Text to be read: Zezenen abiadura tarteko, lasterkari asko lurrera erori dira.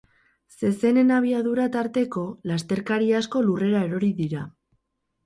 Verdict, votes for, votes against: accepted, 4, 0